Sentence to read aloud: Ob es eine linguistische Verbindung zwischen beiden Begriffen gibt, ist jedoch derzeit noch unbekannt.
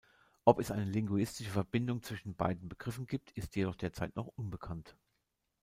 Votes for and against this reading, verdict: 0, 2, rejected